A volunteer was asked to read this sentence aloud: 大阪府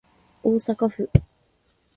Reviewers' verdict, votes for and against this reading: accepted, 2, 0